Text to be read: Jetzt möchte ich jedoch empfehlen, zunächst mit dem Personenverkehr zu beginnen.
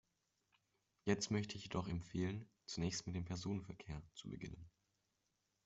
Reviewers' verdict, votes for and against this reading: accepted, 2, 0